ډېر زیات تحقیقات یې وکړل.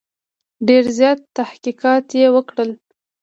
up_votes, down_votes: 2, 0